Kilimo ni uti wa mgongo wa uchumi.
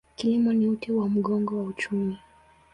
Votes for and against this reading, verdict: 12, 4, accepted